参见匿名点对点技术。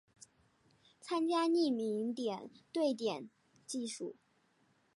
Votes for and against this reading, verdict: 2, 0, accepted